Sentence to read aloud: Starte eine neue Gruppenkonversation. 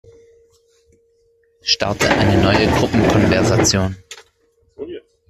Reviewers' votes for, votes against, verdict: 1, 2, rejected